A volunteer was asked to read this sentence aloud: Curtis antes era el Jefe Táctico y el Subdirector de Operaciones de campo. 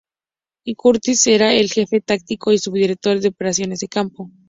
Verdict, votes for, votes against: rejected, 2, 2